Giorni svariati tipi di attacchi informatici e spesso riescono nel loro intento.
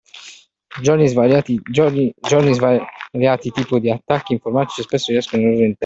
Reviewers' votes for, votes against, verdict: 0, 2, rejected